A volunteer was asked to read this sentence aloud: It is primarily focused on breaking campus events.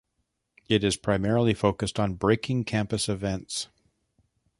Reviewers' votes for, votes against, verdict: 2, 0, accepted